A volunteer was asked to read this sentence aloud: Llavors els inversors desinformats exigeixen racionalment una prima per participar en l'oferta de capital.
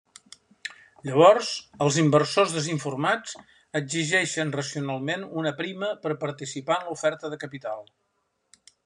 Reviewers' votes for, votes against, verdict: 3, 1, accepted